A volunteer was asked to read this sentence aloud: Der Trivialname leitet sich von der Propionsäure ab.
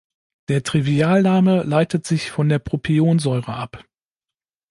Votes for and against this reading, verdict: 2, 0, accepted